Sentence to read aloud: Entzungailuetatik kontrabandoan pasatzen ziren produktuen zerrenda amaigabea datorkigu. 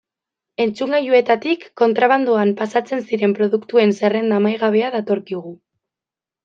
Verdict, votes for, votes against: accepted, 2, 0